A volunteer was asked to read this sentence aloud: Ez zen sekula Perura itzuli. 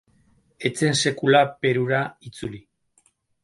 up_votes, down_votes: 4, 0